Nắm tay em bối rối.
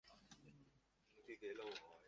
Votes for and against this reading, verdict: 0, 2, rejected